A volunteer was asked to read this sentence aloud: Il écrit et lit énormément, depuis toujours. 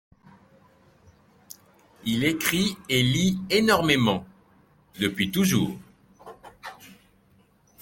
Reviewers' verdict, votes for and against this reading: accepted, 2, 0